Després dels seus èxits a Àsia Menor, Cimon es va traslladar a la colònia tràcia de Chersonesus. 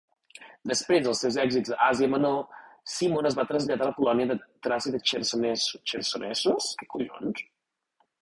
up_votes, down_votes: 0, 2